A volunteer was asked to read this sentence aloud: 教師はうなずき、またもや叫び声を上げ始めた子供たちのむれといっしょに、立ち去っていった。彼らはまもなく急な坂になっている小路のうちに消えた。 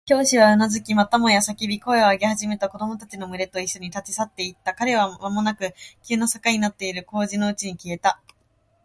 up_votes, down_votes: 2, 0